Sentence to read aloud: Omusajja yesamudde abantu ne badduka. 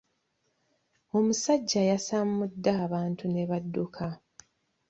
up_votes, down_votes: 2, 1